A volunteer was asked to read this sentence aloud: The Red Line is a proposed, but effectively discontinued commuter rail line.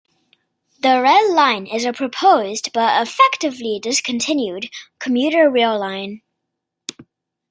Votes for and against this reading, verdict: 1, 2, rejected